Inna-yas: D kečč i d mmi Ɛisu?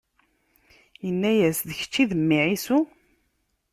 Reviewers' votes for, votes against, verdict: 2, 0, accepted